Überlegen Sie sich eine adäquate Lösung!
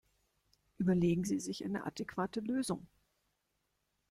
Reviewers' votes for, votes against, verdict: 1, 2, rejected